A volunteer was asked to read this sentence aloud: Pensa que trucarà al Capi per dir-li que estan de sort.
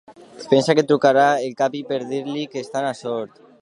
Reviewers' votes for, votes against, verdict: 1, 2, rejected